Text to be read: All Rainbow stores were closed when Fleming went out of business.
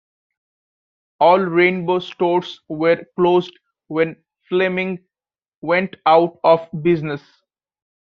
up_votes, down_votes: 2, 0